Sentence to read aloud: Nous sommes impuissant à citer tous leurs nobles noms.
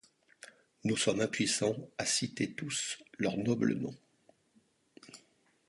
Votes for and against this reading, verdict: 2, 0, accepted